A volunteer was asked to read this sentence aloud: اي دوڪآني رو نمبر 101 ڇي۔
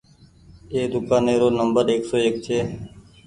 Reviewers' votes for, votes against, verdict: 0, 2, rejected